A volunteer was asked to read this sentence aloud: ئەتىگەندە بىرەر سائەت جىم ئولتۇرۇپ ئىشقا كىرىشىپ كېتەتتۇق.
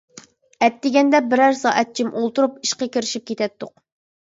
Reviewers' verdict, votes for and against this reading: accepted, 2, 0